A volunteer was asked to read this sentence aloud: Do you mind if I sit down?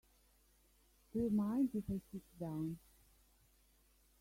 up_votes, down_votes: 0, 2